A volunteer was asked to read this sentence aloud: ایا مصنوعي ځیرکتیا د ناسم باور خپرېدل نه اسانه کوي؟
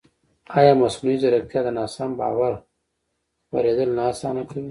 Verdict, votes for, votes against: accepted, 2, 0